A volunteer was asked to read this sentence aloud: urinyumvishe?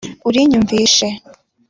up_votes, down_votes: 2, 0